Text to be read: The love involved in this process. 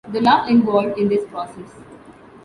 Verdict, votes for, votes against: accepted, 2, 0